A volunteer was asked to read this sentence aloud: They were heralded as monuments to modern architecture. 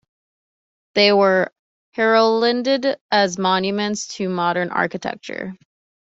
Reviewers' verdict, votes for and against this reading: accepted, 2, 0